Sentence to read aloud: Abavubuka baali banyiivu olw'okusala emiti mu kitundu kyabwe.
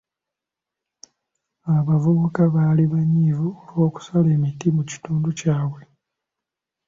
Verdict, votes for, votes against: accepted, 2, 0